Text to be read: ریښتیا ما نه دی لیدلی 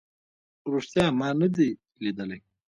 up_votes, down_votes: 2, 0